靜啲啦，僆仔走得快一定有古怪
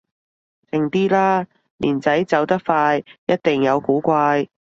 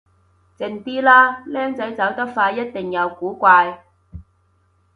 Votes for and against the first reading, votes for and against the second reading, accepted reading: 0, 2, 2, 0, second